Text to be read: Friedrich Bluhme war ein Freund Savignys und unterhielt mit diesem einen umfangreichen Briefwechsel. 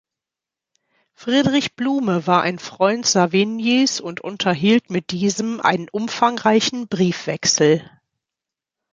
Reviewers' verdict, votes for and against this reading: accepted, 2, 0